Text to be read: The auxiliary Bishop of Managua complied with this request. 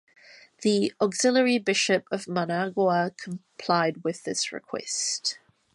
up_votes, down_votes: 2, 0